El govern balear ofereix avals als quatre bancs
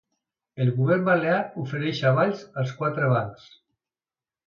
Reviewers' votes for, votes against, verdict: 2, 0, accepted